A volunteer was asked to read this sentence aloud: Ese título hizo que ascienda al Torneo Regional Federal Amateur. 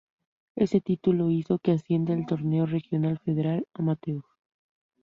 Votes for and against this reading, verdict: 0, 2, rejected